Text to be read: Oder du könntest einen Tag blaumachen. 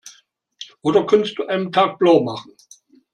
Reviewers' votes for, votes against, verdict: 0, 2, rejected